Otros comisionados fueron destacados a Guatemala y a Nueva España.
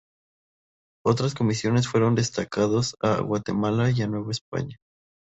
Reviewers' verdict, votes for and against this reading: rejected, 0, 2